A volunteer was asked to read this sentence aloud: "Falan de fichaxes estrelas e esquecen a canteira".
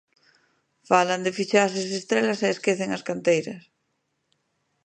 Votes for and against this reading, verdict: 0, 2, rejected